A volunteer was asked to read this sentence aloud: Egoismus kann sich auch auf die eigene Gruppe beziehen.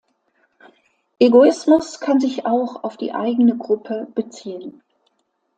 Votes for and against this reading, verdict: 2, 0, accepted